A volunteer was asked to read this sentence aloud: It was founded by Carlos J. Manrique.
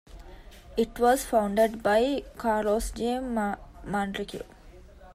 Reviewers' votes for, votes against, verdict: 0, 2, rejected